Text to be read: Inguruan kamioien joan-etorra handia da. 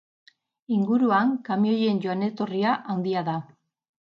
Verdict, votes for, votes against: rejected, 0, 2